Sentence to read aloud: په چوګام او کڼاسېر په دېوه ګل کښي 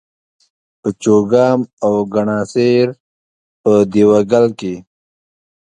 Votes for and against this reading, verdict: 2, 0, accepted